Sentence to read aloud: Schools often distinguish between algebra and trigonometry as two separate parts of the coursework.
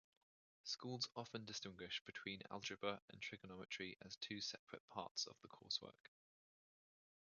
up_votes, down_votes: 0, 2